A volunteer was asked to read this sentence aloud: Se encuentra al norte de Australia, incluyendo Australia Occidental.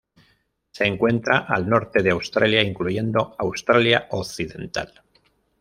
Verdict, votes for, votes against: accepted, 2, 1